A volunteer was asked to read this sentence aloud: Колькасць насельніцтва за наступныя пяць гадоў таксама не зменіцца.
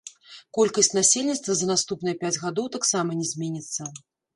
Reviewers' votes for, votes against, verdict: 1, 2, rejected